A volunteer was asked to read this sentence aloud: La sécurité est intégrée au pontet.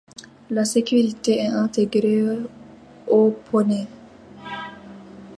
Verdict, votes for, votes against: rejected, 1, 2